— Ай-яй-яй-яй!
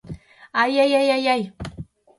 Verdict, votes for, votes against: rejected, 0, 2